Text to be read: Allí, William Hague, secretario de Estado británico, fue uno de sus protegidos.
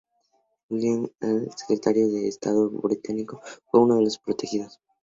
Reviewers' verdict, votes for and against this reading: rejected, 0, 2